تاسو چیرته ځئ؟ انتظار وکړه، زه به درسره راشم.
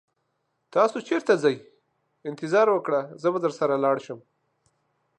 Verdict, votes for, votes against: accepted, 2, 1